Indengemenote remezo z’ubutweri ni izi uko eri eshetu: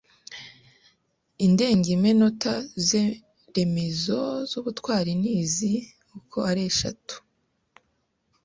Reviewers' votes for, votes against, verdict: 0, 2, rejected